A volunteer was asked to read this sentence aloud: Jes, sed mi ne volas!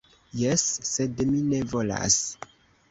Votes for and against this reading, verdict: 1, 2, rejected